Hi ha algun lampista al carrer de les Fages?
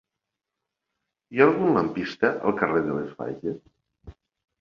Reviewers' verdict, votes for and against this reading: accepted, 2, 0